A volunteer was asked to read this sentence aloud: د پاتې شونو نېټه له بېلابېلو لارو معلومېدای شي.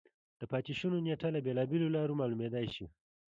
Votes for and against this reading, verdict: 1, 2, rejected